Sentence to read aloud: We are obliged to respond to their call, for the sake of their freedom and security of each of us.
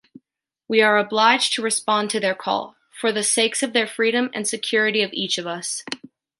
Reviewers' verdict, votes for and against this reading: rejected, 0, 2